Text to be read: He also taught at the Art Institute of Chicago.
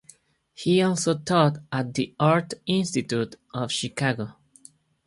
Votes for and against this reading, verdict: 2, 0, accepted